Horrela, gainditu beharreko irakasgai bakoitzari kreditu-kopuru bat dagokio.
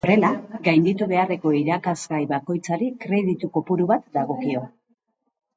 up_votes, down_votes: 2, 0